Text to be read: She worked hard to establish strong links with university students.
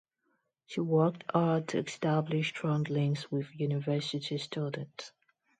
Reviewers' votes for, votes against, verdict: 2, 0, accepted